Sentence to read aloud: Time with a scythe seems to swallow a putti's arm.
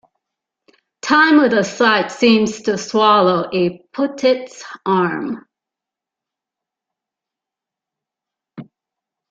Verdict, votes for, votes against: rejected, 0, 2